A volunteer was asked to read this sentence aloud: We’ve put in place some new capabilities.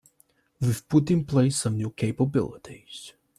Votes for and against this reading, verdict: 2, 0, accepted